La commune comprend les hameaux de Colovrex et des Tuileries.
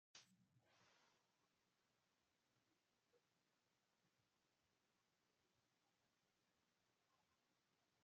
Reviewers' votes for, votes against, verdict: 0, 2, rejected